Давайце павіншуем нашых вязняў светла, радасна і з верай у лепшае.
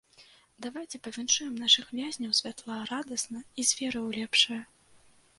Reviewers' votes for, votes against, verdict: 0, 2, rejected